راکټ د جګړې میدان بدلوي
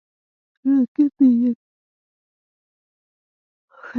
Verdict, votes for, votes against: rejected, 0, 2